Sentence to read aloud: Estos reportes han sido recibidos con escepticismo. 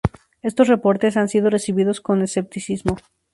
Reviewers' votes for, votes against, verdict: 0, 2, rejected